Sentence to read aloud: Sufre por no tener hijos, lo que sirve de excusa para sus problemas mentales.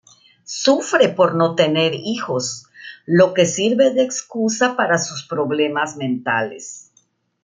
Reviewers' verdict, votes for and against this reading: rejected, 1, 2